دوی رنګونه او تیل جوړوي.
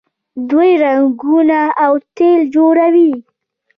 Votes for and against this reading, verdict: 0, 2, rejected